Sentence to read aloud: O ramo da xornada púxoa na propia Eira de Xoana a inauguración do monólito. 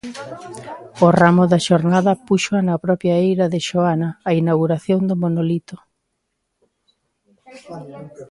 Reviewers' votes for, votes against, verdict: 1, 2, rejected